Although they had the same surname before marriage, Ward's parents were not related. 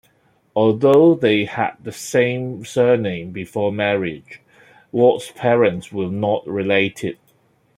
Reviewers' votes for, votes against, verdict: 2, 0, accepted